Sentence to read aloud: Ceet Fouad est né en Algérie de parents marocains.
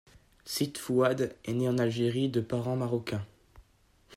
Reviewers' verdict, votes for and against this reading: accepted, 2, 0